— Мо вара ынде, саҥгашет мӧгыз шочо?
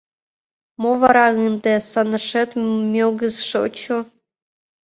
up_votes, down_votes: 0, 2